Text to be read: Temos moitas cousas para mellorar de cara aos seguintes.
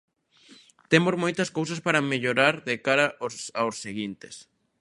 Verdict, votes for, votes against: rejected, 0, 2